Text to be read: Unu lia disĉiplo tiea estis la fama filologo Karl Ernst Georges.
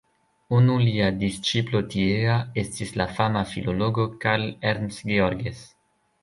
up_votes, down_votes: 1, 2